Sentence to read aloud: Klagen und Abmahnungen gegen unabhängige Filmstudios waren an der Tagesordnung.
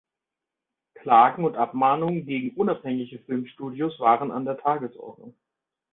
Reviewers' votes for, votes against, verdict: 2, 0, accepted